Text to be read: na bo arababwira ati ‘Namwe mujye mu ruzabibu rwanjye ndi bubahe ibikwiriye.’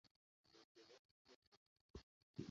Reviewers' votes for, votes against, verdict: 0, 2, rejected